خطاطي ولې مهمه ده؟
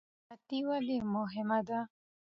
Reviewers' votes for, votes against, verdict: 2, 0, accepted